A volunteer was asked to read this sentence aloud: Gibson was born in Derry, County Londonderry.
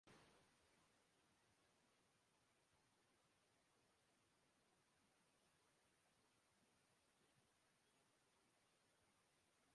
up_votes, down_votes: 0, 2